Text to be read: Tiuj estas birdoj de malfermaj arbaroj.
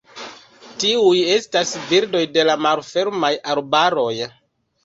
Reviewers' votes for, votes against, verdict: 2, 0, accepted